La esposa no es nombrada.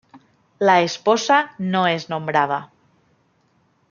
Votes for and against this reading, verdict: 2, 0, accepted